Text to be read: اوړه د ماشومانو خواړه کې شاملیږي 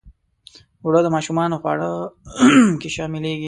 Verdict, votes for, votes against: rejected, 1, 2